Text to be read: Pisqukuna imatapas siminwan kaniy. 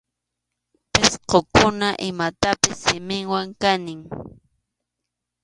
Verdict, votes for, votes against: accepted, 2, 1